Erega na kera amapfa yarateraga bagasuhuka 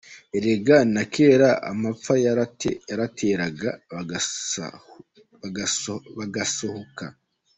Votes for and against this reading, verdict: 0, 2, rejected